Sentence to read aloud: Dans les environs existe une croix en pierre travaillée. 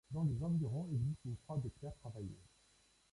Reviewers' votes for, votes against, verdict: 0, 2, rejected